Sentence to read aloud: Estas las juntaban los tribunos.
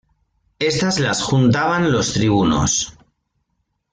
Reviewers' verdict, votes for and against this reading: rejected, 1, 2